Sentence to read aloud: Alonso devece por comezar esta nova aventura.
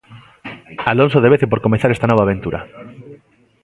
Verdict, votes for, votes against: accepted, 2, 0